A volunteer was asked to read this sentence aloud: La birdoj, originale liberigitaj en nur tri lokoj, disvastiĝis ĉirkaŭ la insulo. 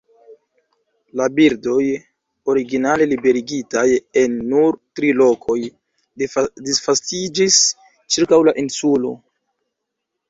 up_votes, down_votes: 0, 2